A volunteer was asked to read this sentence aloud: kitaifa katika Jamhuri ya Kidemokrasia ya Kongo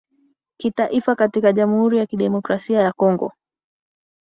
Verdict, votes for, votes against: accepted, 2, 0